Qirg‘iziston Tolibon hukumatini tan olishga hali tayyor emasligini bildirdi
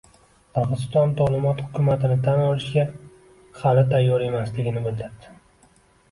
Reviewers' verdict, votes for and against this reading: rejected, 1, 2